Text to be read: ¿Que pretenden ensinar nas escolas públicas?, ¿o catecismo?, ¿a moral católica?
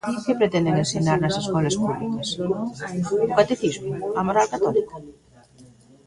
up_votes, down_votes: 1, 2